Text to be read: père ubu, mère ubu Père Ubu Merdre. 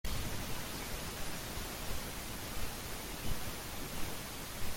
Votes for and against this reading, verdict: 0, 2, rejected